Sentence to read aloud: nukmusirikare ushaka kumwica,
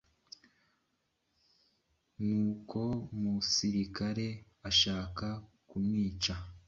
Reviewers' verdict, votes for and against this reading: rejected, 1, 2